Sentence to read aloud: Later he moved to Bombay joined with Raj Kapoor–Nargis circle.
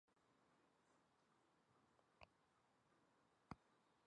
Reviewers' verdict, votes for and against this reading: rejected, 0, 2